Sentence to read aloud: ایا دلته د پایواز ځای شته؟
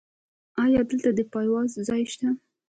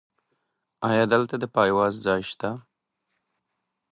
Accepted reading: first